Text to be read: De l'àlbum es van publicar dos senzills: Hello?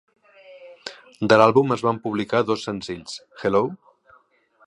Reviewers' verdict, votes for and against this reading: accepted, 4, 1